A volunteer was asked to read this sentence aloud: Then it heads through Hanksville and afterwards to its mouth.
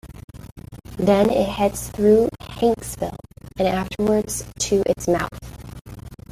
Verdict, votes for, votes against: rejected, 1, 2